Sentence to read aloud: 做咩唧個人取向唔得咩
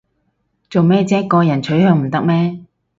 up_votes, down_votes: 4, 0